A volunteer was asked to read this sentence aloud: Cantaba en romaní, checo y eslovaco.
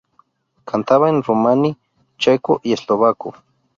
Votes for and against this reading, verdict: 2, 0, accepted